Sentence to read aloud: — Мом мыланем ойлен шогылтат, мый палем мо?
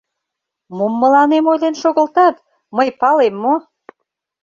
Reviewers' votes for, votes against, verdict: 2, 0, accepted